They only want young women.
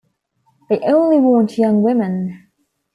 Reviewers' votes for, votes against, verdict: 2, 0, accepted